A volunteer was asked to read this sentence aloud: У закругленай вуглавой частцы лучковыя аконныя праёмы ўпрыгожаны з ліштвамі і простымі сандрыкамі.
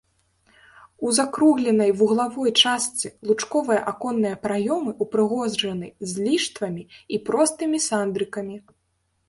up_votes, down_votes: 1, 2